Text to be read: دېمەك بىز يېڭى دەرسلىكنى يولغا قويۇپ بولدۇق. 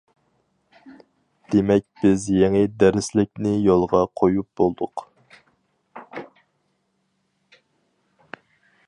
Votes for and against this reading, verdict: 4, 0, accepted